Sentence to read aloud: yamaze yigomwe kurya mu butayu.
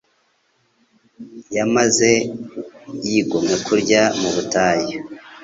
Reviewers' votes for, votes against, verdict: 2, 0, accepted